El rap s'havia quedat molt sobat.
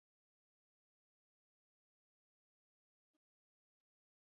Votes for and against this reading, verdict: 0, 2, rejected